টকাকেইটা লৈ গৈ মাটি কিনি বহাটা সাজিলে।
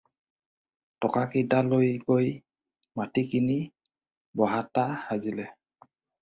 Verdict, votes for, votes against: rejected, 2, 2